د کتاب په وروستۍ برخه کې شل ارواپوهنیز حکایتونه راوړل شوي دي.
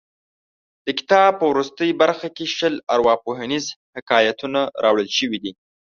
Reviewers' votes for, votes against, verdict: 3, 0, accepted